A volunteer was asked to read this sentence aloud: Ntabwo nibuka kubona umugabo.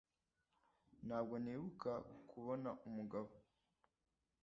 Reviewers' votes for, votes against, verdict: 2, 0, accepted